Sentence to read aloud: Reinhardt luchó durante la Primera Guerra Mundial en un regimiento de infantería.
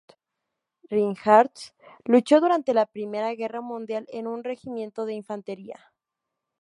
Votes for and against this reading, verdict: 0, 2, rejected